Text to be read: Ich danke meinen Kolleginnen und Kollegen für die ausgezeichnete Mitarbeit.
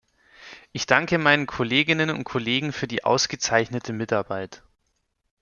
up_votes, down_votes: 2, 0